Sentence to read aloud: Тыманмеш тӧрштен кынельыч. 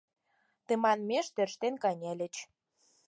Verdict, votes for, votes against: accepted, 4, 0